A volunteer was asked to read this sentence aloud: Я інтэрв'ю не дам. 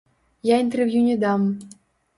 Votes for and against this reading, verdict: 1, 2, rejected